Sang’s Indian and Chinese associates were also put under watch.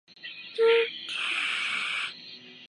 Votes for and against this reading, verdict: 0, 2, rejected